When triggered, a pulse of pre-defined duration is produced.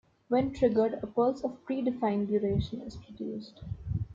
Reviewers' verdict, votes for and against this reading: accepted, 2, 0